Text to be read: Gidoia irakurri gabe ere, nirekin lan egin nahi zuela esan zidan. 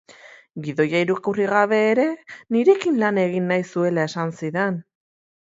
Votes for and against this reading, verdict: 2, 0, accepted